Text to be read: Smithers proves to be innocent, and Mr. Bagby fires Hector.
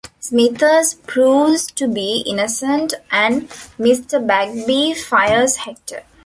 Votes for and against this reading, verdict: 1, 2, rejected